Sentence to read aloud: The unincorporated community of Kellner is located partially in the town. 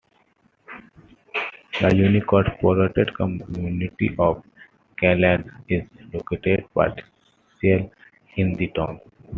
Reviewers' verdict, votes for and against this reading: rejected, 0, 2